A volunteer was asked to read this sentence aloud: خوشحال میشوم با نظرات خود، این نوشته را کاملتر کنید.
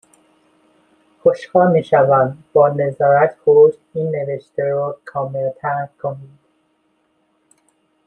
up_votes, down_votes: 0, 2